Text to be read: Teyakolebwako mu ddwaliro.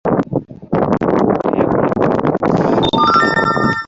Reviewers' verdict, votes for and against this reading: rejected, 0, 2